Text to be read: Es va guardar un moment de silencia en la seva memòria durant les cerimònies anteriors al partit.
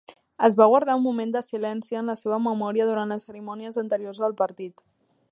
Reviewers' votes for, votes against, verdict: 3, 1, accepted